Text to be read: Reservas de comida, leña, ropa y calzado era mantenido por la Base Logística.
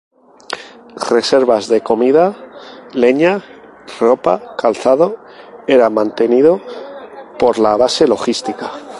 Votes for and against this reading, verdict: 0, 2, rejected